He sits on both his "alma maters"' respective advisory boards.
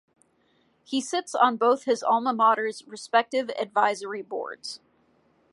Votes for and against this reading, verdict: 2, 0, accepted